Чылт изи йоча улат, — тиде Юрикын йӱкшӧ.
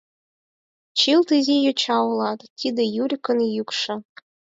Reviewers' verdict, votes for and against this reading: accepted, 4, 0